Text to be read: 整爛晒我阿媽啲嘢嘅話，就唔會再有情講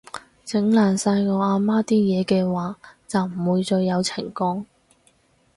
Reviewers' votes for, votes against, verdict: 4, 0, accepted